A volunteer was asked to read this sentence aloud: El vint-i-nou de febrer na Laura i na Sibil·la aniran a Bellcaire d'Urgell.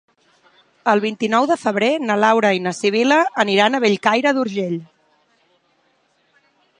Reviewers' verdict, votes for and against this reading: accepted, 3, 0